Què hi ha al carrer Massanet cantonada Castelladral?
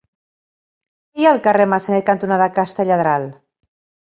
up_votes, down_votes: 1, 2